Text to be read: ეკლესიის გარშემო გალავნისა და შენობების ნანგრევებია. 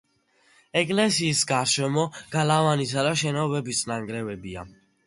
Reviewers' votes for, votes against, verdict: 2, 0, accepted